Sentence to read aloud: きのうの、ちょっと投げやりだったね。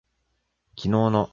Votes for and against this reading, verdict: 0, 2, rejected